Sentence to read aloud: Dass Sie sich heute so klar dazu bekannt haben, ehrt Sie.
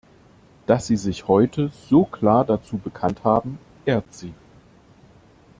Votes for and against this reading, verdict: 2, 0, accepted